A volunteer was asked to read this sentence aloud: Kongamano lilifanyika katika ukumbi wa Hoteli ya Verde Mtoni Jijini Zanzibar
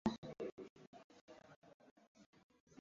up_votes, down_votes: 0, 2